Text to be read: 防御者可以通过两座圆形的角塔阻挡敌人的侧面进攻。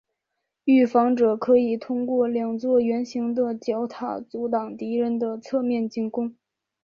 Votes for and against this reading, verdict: 1, 2, rejected